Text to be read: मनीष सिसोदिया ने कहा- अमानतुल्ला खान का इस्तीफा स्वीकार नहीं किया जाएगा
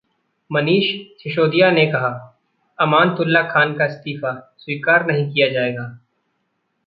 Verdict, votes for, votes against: rejected, 1, 2